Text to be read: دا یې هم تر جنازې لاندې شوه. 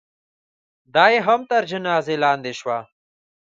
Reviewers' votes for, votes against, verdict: 2, 0, accepted